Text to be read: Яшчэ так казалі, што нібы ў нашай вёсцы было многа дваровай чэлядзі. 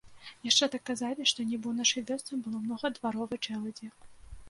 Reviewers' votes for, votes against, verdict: 1, 2, rejected